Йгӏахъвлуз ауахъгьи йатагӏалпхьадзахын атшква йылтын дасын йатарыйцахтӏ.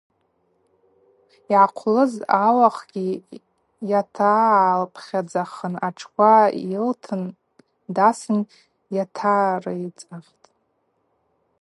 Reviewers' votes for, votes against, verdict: 2, 0, accepted